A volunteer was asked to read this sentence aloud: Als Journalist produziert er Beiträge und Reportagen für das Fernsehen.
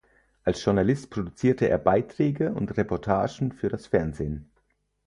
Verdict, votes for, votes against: rejected, 2, 4